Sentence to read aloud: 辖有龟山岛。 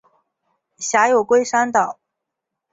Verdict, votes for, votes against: accepted, 3, 0